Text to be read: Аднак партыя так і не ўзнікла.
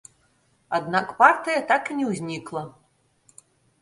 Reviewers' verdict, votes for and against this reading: accepted, 2, 1